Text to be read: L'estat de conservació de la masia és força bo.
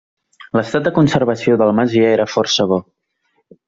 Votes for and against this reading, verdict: 1, 2, rejected